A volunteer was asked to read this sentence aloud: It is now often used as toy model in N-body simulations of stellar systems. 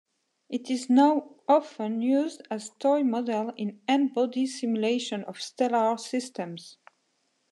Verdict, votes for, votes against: accepted, 2, 0